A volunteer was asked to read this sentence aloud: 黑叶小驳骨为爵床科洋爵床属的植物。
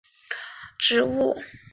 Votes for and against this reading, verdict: 0, 2, rejected